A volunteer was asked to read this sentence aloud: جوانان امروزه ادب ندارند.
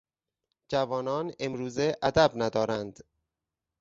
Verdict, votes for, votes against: accepted, 4, 0